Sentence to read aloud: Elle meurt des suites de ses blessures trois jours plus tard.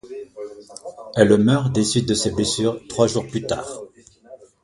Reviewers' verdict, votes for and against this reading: rejected, 1, 2